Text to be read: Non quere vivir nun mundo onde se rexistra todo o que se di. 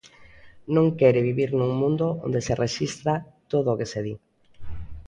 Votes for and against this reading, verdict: 2, 0, accepted